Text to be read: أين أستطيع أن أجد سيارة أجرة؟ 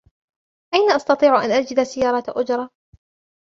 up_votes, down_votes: 0, 2